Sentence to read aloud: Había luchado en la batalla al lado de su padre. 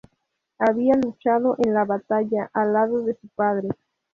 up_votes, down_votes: 4, 0